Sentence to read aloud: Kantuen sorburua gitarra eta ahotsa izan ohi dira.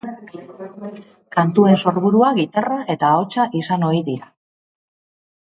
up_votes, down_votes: 2, 0